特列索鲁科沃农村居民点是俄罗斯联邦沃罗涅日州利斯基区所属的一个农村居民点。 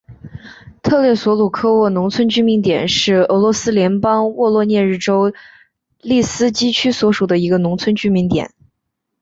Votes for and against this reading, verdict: 2, 0, accepted